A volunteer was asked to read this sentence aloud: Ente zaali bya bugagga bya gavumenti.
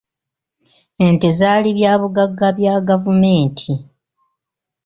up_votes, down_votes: 2, 0